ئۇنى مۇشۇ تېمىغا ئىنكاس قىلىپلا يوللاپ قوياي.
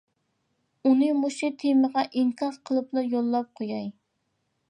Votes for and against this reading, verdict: 2, 0, accepted